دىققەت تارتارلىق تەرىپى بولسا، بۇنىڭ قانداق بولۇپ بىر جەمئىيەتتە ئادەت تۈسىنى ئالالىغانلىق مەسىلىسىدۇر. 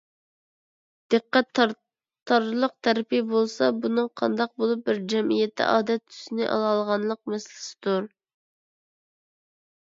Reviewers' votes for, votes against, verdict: 2, 0, accepted